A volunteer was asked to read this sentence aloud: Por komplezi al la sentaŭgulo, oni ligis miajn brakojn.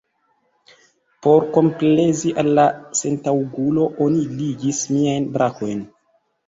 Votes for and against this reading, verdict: 2, 0, accepted